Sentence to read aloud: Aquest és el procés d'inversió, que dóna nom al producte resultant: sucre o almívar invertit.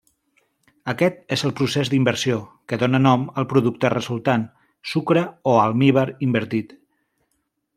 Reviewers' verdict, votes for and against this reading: accepted, 3, 0